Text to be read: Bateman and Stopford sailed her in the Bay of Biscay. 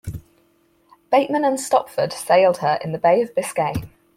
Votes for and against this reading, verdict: 4, 0, accepted